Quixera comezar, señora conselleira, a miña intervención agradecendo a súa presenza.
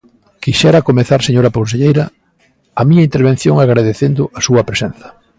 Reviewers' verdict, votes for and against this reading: accepted, 3, 0